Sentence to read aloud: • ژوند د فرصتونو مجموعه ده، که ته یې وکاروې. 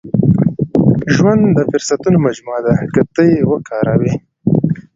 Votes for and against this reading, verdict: 1, 2, rejected